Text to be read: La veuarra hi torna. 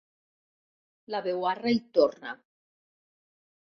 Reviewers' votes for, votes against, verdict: 2, 0, accepted